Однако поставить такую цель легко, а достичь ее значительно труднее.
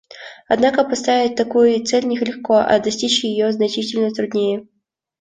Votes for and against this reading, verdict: 1, 2, rejected